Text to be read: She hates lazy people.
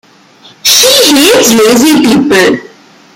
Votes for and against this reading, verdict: 0, 2, rejected